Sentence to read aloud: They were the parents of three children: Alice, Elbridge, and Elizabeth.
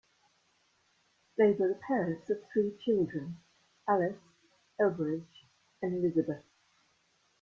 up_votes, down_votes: 0, 2